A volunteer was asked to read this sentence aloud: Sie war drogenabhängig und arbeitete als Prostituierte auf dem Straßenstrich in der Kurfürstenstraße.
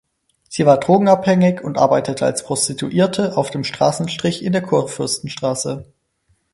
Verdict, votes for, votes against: accepted, 4, 2